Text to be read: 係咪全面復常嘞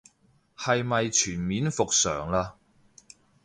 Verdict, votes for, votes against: accepted, 3, 0